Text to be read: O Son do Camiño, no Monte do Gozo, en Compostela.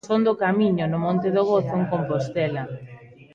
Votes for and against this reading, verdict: 1, 2, rejected